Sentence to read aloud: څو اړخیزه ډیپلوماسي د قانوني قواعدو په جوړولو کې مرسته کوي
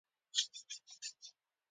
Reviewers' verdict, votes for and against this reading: rejected, 1, 2